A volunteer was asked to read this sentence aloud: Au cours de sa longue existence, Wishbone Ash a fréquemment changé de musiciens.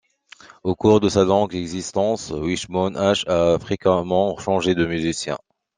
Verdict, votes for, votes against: rejected, 1, 2